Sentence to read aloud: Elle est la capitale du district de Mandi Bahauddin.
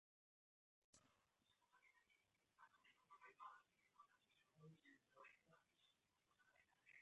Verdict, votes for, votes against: rejected, 0, 2